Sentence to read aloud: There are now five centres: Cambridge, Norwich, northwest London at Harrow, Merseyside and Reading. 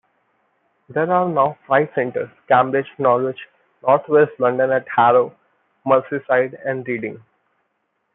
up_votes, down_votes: 1, 2